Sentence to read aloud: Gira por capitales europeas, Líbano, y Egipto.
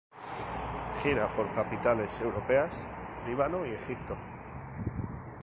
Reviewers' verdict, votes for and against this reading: accepted, 2, 0